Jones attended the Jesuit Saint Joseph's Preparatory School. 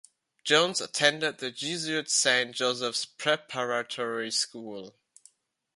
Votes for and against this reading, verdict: 2, 0, accepted